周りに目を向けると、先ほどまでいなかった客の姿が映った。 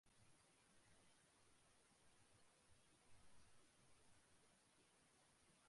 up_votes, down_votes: 0, 2